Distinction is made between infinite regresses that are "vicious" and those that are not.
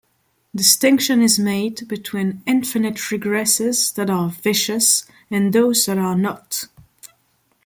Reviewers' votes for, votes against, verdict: 2, 0, accepted